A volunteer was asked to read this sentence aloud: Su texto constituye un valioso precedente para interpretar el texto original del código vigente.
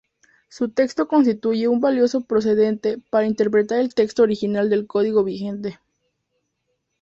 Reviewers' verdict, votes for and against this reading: rejected, 0, 2